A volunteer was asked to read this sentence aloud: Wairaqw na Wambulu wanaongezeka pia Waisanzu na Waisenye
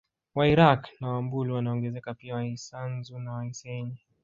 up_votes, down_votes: 1, 2